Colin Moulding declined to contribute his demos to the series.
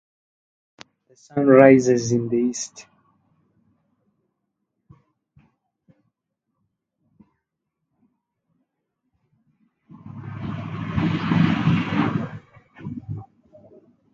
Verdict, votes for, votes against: rejected, 0, 2